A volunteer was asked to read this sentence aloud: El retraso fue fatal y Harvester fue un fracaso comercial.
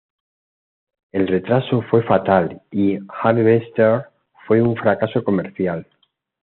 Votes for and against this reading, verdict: 2, 0, accepted